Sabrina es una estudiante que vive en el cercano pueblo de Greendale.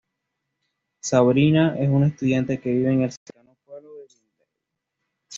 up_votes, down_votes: 1, 2